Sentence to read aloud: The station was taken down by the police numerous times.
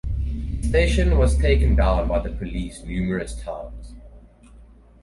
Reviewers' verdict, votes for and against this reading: rejected, 2, 4